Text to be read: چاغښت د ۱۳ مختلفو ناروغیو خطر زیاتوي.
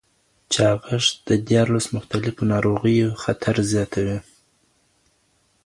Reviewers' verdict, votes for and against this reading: rejected, 0, 2